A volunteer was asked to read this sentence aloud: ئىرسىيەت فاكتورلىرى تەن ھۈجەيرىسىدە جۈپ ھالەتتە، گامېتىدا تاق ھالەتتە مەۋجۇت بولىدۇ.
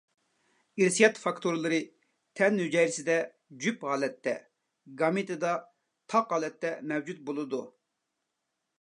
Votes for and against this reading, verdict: 2, 0, accepted